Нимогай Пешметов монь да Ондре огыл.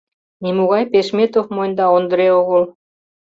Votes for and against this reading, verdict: 2, 0, accepted